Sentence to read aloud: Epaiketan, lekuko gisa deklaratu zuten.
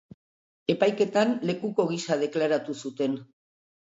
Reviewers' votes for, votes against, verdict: 2, 0, accepted